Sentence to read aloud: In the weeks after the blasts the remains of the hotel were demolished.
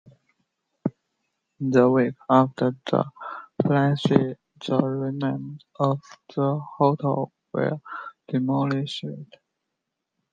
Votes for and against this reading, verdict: 0, 2, rejected